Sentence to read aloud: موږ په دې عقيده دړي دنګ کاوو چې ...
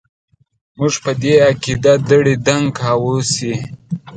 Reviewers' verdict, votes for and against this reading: rejected, 1, 2